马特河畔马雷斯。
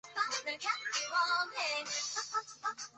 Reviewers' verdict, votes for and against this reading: rejected, 0, 3